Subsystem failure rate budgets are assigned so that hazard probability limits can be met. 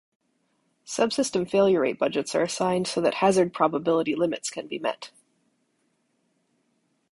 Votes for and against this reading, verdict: 2, 0, accepted